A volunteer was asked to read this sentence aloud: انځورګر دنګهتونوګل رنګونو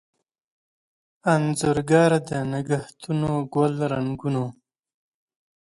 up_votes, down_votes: 2, 0